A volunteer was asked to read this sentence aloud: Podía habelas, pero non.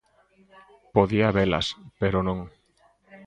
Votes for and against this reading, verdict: 2, 0, accepted